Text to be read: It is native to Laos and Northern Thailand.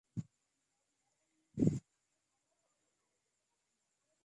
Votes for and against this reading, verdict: 0, 2, rejected